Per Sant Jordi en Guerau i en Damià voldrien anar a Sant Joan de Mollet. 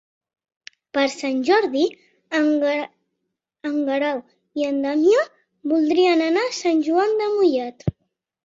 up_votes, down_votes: 0, 4